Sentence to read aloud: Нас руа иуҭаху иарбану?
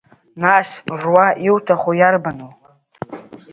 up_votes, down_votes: 0, 2